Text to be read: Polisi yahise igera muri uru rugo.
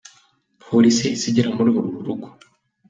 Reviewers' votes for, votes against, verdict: 2, 0, accepted